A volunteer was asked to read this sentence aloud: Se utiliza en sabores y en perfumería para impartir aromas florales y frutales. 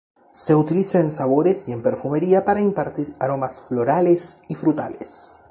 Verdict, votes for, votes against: accepted, 2, 0